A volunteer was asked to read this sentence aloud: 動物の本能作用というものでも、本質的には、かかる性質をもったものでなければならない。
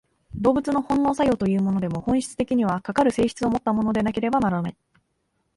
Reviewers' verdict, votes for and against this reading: accepted, 3, 0